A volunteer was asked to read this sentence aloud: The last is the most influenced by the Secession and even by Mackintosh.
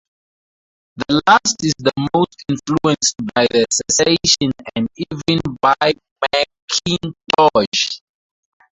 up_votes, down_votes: 0, 2